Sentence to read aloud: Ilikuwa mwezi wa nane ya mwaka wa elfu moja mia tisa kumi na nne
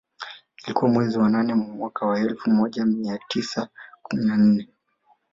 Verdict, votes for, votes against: accepted, 3, 1